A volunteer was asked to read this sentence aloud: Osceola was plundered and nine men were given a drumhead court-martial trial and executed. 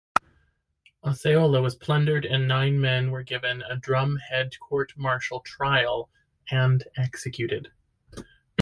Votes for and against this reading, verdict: 3, 1, accepted